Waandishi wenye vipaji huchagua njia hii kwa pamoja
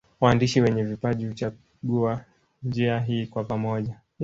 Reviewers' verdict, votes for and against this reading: rejected, 1, 2